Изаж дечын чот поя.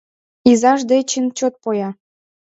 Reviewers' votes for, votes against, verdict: 2, 0, accepted